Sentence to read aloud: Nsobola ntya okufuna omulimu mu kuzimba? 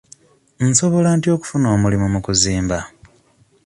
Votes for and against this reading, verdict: 2, 0, accepted